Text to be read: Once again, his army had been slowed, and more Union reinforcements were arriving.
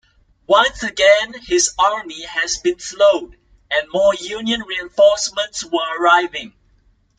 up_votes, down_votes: 1, 2